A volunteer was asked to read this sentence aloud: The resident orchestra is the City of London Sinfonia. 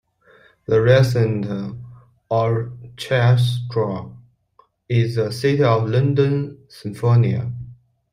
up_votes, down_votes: 0, 2